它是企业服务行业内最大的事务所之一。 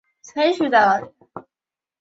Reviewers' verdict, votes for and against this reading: rejected, 0, 2